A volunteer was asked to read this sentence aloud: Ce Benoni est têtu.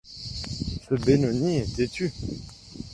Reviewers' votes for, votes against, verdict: 2, 1, accepted